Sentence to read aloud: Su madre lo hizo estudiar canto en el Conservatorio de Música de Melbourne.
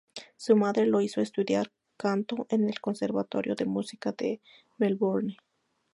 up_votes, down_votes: 2, 0